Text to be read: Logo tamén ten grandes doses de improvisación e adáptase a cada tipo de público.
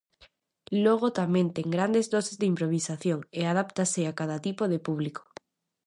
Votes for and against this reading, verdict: 2, 0, accepted